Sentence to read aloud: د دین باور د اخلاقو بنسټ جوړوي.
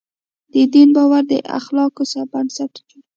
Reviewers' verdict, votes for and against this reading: rejected, 1, 2